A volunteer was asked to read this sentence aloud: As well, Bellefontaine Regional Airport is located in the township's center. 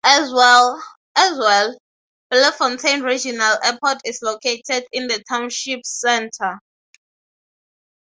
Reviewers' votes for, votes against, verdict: 0, 6, rejected